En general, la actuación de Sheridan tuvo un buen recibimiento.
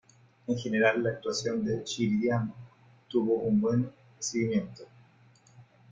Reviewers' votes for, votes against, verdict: 0, 3, rejected